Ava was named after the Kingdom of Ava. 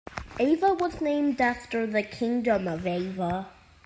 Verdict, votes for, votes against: accepted, 2, 0